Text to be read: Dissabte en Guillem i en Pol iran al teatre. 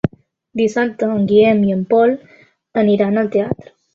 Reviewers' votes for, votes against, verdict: 0, 2, rejected